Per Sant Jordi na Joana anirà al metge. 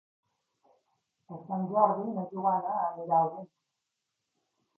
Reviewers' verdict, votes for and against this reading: rejected, 1, 2